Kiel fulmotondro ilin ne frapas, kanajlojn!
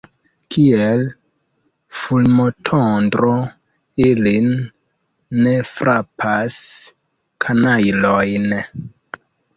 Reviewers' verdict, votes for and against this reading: accepted, 2, 1